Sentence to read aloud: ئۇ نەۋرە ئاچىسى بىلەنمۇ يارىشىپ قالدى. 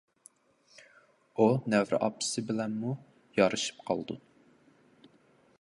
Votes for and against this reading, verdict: 0, 2, rejected